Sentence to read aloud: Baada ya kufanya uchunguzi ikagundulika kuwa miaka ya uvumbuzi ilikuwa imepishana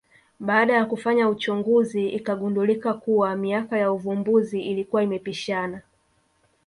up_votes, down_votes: 1, 2